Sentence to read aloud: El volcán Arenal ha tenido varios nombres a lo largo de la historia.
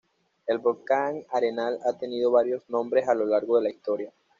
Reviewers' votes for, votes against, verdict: 2, 0, accepted